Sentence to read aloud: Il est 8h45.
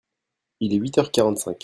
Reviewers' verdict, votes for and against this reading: rejected, 0, 2